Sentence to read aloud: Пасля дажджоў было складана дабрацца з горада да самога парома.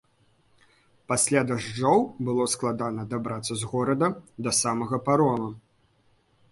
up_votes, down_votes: 1, 2